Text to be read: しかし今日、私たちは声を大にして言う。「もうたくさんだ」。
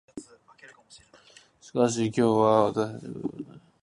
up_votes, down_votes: 1, 2